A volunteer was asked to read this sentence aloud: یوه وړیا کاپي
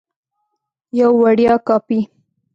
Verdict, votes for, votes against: rejected, 1, 2